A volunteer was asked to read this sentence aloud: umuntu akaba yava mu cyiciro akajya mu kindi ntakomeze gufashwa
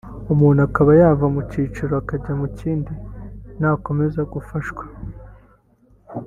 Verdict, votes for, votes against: rejected, 1, 3